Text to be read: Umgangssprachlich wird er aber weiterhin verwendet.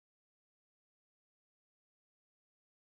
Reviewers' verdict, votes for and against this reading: rejected, 0, 2